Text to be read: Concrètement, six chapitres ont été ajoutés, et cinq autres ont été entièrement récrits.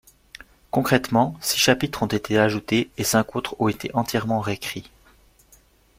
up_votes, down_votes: 2, 1